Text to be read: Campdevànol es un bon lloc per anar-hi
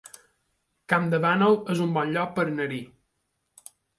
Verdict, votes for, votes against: rejected, 1, 2